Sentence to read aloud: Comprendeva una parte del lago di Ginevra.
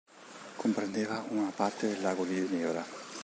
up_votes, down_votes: 1, 2